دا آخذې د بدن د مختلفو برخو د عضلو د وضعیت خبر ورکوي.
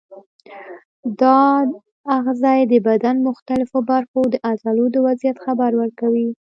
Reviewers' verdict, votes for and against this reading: rejected, 1, 2